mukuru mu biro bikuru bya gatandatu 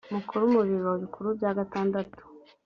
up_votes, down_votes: 4, 0